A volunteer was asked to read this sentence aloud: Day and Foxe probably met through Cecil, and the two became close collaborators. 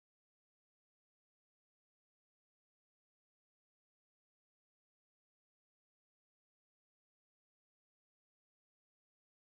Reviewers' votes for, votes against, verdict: 0, 2, rejected